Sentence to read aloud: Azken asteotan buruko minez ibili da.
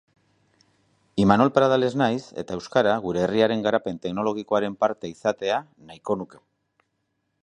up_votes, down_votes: 0, 2